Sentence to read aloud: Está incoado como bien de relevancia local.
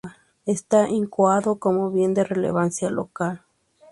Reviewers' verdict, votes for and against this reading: accepted, 4, 0